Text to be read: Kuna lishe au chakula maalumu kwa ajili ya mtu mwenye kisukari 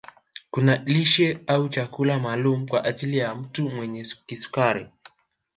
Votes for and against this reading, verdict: 2, 0, accepted